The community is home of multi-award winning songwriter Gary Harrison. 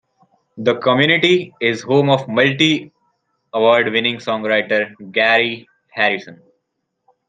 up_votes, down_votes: 2, 0